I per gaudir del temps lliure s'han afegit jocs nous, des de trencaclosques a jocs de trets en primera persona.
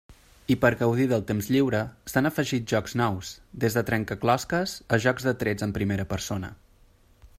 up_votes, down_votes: 3, 0